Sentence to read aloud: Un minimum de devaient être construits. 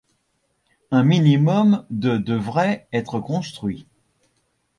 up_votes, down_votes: 1, 2